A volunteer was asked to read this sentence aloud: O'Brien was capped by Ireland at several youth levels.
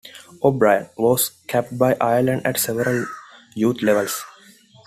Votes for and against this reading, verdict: 2, 0, accepted